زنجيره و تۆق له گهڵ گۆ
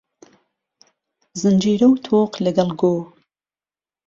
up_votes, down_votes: 3, 0